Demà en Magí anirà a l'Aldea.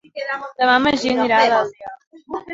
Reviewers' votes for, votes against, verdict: 0, 2, rejected